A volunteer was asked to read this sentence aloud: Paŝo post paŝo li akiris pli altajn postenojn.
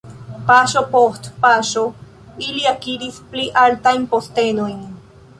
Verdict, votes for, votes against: rejected, 1, 2